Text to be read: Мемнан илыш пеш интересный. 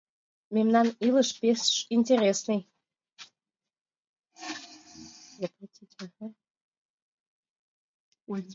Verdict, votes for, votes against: accepted, 2, 1